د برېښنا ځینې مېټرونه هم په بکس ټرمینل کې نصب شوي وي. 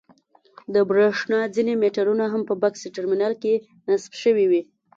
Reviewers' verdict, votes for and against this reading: accepted, 2, 0